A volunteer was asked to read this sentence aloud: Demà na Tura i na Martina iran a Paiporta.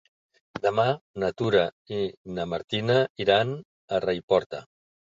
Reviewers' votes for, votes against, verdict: 1, 3, rejected